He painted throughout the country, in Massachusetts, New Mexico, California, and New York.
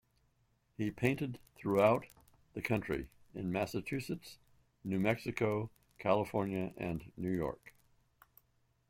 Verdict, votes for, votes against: rejected, 1, 2